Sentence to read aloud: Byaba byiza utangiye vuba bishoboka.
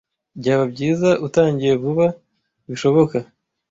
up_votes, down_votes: 2, 0